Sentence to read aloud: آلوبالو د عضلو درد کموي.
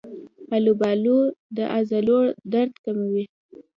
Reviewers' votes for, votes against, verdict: 2, 0, accepted